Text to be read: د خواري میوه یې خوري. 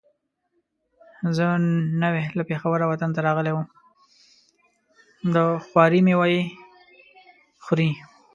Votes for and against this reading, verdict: 0, 2, rejected